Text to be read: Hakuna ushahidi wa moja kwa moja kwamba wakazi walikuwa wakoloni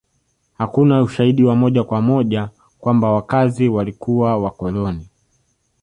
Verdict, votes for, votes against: rejected, 1, 2